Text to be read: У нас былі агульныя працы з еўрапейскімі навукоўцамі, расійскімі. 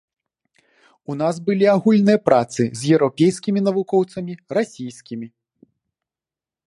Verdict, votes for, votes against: accepted, 2, 0